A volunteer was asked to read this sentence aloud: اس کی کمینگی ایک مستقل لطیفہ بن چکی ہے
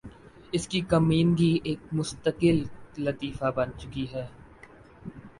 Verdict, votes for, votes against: accepted, 2, 1